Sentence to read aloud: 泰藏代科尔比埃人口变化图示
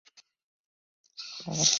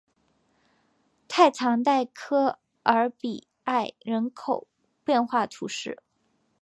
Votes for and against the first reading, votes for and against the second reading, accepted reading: 2, 3, 3, 0, second